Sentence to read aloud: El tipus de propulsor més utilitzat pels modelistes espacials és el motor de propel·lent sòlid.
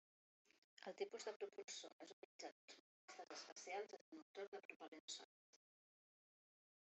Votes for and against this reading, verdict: 0, 2, rejected